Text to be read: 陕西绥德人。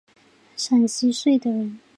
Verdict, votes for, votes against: accepted, 2, 1